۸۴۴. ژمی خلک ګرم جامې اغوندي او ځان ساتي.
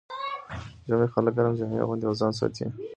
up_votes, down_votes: 0, 2